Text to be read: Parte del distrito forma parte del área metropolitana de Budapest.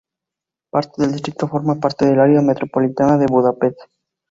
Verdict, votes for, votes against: accepted, 2, 0